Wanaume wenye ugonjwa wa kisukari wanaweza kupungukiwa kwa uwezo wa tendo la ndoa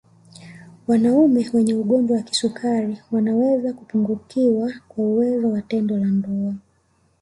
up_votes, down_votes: 2, 1